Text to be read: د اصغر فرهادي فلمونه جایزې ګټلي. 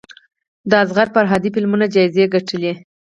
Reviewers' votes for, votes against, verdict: 0, 4, rejected